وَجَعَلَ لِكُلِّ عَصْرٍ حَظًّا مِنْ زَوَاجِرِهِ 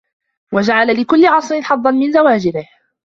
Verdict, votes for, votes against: accepted, 2, 0